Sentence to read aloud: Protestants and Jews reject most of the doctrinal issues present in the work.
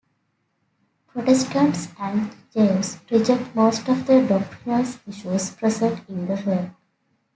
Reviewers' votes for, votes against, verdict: 2, 3, rejected